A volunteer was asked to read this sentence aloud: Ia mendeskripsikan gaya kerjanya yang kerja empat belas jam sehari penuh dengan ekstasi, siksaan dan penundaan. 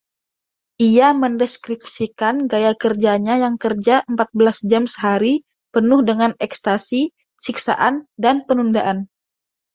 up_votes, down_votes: 2, 0